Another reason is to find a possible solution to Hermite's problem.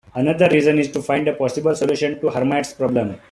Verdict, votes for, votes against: accepted, 2, 1